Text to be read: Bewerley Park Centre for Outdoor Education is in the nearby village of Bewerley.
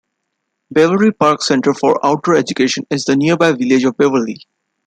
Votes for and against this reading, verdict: 0, 2, rejected